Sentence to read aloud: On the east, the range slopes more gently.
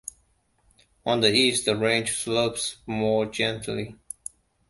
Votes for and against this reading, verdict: 2, 0, accepted